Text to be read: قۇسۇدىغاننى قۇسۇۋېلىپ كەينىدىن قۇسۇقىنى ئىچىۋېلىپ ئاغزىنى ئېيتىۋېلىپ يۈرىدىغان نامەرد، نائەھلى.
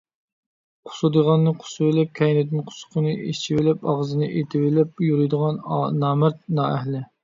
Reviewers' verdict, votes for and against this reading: rejected, 1, 2